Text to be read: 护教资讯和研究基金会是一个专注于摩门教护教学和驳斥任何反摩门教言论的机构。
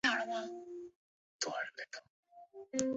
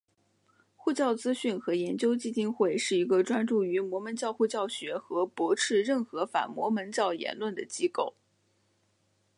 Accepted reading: second